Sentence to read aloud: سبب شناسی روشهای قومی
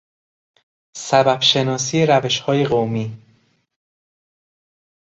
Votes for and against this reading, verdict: 2, 0, accepted